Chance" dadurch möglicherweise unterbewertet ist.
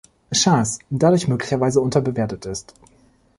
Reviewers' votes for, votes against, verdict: 2, 0, accepted